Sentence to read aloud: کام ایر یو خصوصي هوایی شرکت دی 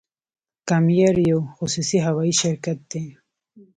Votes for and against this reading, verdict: 1, 2, rejected